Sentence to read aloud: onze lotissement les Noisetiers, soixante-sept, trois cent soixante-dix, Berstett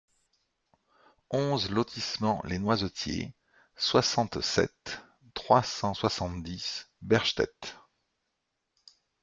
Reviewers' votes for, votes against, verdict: 2, 0, accepted